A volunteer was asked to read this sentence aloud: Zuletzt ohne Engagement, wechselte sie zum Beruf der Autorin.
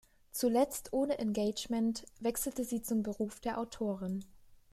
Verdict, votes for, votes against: rejected, 1, 2